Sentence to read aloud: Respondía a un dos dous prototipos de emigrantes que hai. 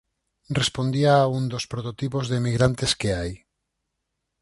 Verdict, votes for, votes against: rejected, 2, 4